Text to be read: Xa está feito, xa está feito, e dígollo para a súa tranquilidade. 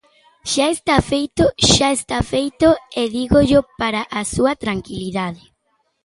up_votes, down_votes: 2, 1